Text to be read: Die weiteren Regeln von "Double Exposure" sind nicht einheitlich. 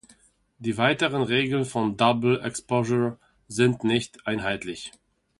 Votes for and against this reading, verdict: 2, 0, accepted